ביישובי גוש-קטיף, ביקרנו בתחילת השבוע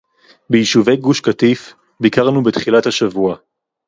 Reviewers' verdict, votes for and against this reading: accepted, 4, 0